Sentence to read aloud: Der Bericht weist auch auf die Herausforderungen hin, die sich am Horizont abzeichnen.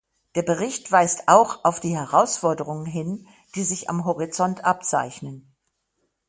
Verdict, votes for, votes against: accepted, 6, 0